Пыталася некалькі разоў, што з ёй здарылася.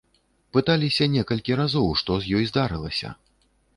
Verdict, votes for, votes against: rejected, 0, 2